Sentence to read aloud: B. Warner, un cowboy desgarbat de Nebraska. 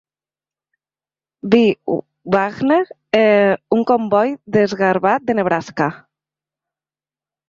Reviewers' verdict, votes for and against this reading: rejected, 1, 2